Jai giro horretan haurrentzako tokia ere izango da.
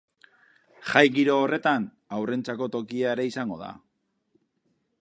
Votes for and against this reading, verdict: 4, 0, accepted